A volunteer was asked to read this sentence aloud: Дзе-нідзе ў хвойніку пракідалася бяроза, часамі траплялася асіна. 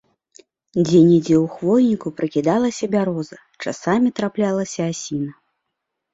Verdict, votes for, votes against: accepted, 2, 0